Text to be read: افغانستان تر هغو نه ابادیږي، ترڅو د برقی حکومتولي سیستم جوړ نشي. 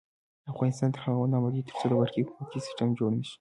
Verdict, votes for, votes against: accepted, 3, 0